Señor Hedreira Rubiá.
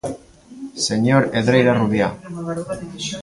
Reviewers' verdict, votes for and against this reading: rejected, 1, 2